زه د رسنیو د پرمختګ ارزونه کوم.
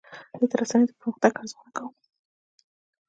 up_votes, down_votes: 2, 1